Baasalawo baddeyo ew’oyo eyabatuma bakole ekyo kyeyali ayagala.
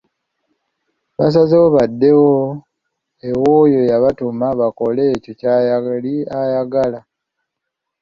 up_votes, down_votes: 1, 2